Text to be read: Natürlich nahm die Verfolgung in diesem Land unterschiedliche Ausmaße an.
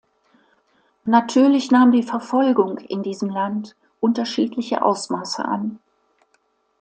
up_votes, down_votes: 2, 0